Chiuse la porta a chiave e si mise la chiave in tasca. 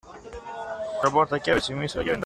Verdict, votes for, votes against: rejected, 0, 2